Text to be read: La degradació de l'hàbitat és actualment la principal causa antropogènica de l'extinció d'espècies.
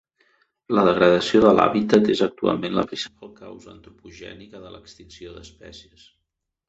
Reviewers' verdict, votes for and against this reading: accepted, 2, 0